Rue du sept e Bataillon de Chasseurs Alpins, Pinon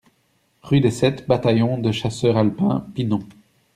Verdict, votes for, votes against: rejected, 1, 2